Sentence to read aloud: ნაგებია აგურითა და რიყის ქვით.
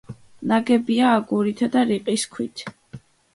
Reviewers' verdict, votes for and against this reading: accepted, 2, 0